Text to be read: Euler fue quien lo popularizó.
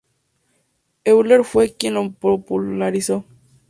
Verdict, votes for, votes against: accepted, 2, 0